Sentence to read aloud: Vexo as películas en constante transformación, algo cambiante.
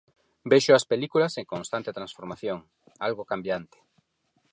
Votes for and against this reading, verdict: 4, 0, accepted